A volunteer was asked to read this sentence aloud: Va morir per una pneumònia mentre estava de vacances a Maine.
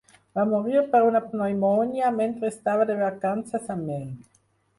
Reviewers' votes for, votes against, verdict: 4, 0, accepted